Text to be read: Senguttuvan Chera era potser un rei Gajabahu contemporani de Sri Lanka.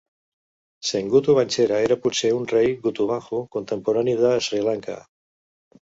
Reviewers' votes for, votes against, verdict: 1, 2, rejected